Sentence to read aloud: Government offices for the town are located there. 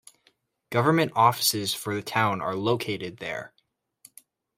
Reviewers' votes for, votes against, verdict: 2, 0, accepted